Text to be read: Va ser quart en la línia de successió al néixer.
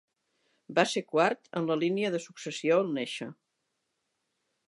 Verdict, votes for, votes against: accepted, 3, 0